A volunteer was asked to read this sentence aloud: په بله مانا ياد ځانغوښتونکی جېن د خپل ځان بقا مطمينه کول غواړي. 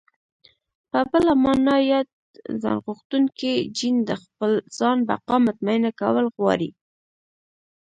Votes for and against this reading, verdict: 1, 2, rejected